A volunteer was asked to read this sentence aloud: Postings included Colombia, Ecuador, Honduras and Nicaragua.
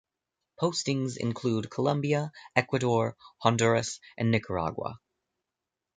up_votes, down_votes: 0, 2